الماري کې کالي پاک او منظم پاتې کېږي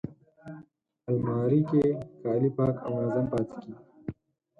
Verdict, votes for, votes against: rejected, 2, 4